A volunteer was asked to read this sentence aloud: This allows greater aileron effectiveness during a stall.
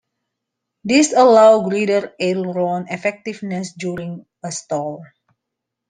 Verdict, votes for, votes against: rejected, 0, 2